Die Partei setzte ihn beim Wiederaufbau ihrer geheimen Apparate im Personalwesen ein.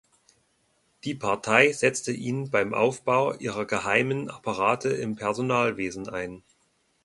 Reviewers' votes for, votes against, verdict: 2, 1, accepted